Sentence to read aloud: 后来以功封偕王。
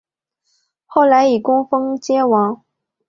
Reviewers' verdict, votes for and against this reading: accepted, 3, 0